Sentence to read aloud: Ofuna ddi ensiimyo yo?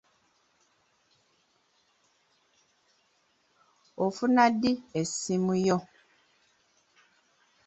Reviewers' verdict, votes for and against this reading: rejected, 0, 2